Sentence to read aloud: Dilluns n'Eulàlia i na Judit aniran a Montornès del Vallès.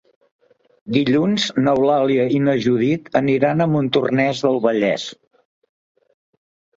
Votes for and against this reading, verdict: 2, 0, accepted